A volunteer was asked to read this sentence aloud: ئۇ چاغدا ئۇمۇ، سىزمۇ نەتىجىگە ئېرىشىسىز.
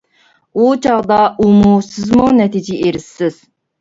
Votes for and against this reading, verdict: 0, 2, rejected